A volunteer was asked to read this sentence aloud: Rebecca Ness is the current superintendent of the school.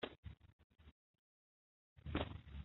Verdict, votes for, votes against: rejected, 0, 2